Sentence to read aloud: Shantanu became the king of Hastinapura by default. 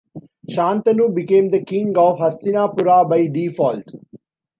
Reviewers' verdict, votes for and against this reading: accepted, 2, 0